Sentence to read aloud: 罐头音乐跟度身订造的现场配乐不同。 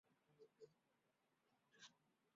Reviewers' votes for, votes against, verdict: 0, 3, rejected